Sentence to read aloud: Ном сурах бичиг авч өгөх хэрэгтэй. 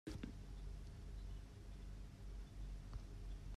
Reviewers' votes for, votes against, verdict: 0, 2, rejected